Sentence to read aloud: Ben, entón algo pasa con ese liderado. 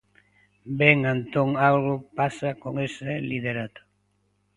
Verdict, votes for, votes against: rejected, 0, 2